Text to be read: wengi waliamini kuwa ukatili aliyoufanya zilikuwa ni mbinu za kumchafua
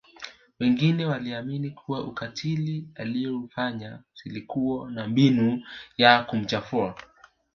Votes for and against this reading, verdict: 1, 2, rejected